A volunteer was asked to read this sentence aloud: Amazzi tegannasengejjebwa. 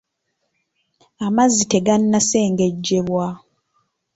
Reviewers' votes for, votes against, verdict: 2, 0, accepted